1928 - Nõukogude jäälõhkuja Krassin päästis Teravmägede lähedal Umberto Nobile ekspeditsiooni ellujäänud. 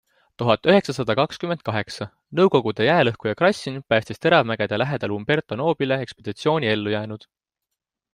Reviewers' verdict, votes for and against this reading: rejected, 0, 2